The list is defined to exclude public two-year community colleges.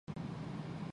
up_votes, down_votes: 0, 2